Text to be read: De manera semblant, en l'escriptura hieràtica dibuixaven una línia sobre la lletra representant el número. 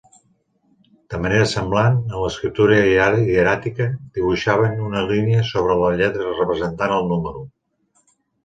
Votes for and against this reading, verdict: 0, 3, rejected